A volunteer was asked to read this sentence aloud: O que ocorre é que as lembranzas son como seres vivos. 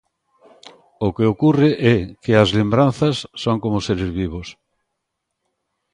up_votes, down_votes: 1, 2